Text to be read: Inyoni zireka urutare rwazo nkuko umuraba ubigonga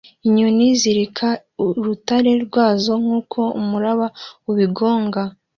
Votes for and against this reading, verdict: 2, 0, accepted